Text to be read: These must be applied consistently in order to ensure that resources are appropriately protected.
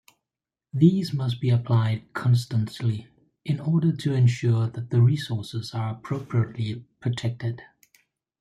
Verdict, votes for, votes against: rejected, 1, 2